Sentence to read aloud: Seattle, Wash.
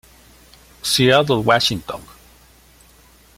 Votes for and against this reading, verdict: 0, 2, rejected